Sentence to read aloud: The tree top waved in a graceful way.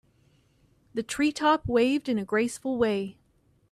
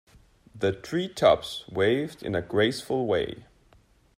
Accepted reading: first